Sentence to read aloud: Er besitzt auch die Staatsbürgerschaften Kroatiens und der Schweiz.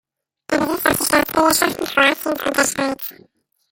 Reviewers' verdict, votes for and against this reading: rejected, 0, 2